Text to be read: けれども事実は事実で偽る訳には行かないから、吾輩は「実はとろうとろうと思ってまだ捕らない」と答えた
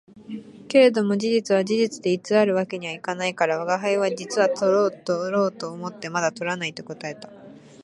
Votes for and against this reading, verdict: 2, 0, accepted